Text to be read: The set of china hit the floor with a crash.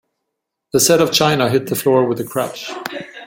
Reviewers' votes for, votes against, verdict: 2, 1, accepted